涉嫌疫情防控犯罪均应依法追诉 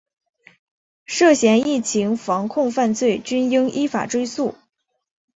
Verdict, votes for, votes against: accepted, 3, 1